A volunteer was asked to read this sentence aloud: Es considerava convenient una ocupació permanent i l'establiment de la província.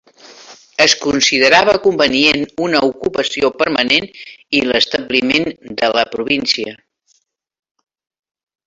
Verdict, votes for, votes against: rejected, 1, 2